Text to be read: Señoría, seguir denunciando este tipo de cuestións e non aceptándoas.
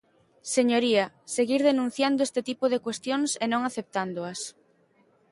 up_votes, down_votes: 2, 0